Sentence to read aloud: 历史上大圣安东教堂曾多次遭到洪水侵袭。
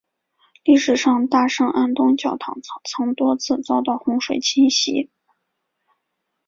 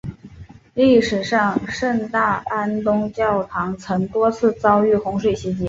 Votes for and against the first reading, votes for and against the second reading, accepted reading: 3, 0, 0, 2, first